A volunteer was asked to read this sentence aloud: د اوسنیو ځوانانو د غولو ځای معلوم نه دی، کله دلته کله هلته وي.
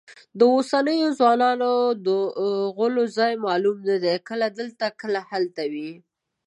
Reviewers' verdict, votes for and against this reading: rejected, 1, 2